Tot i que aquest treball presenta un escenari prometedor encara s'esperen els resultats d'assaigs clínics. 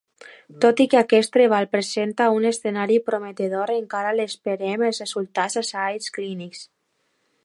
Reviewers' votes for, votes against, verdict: 0, 2, rejected